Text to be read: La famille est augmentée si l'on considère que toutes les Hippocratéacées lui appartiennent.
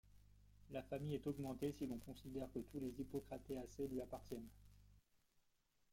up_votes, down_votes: 1, 2